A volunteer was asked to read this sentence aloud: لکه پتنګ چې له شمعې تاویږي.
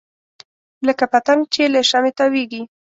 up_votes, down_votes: 2, 0